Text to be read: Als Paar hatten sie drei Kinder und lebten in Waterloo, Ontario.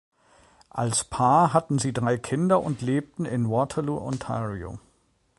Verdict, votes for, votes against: accepted, 2, 0